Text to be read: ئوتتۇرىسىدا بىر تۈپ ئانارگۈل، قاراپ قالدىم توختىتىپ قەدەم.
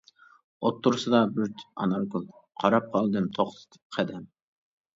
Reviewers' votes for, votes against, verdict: 1, 2, rejected